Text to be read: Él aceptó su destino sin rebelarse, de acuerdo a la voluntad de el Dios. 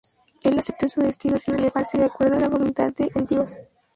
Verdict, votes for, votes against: rejected, 0, 2